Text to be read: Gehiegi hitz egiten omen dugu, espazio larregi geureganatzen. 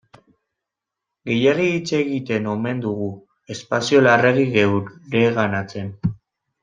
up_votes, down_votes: 0, 2